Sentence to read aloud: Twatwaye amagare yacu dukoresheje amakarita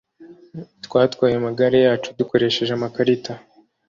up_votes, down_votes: 2, 0